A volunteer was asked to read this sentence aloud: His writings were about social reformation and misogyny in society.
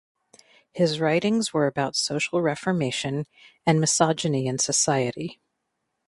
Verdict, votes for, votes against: accepted, 2, 0